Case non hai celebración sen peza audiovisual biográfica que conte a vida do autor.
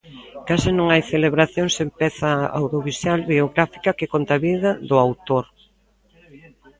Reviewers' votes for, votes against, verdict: 0, 2, rejected